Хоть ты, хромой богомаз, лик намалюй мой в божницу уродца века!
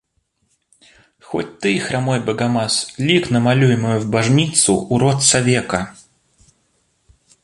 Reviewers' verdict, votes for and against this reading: rejected, 0, 2